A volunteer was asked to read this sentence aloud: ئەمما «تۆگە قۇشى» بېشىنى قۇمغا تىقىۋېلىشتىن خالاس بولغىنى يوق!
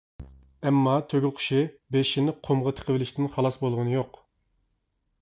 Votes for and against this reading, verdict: 2, 0, accepted